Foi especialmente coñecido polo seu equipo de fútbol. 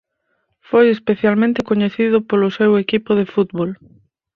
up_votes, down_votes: 4, 0